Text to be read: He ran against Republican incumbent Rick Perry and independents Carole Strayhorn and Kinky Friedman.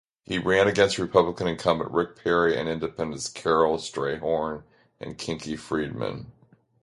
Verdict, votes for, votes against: accepted, 2, 0